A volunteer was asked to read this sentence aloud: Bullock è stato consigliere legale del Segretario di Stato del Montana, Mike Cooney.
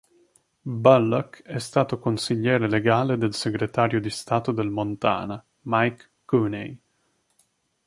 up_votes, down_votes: 2, 0